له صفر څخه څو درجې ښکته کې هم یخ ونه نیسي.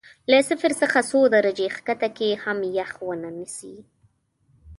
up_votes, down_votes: 2, 0